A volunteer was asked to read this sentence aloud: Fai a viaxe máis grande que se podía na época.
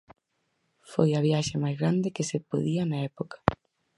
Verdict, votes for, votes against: rejected, 2, 4